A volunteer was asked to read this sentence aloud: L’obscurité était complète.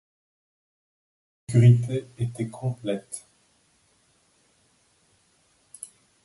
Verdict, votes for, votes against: accepted, 2, 1